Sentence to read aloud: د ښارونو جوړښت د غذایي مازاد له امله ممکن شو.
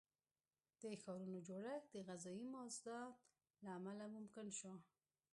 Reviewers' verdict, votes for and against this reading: rejected, 1, 2